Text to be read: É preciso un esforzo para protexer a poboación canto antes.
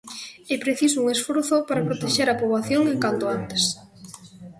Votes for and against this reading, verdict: 0, 2, rejected